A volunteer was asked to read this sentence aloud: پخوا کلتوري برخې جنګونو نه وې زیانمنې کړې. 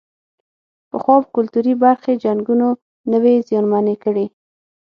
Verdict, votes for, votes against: accepted, 9, 0